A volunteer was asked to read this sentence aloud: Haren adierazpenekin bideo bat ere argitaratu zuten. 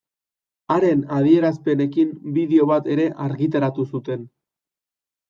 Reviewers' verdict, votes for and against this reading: accepted, 2, 0